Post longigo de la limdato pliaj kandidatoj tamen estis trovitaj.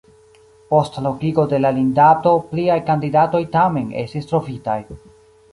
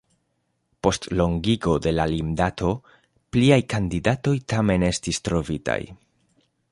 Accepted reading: second